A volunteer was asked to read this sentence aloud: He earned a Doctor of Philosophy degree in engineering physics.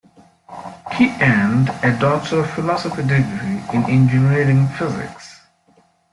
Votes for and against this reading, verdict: 2, 1, accepted